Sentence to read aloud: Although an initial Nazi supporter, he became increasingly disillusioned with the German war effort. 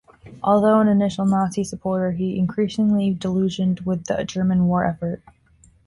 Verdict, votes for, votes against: rejected, 0, 2